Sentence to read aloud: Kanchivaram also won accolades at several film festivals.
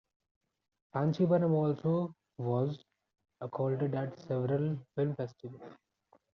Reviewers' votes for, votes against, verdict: 1, 2, rejected